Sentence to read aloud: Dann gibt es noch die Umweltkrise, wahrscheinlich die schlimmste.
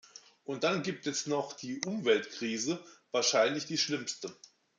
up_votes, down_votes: 1, 2